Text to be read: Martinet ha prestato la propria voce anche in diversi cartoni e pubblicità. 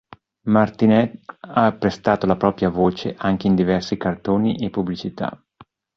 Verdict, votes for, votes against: accepted, 2, 0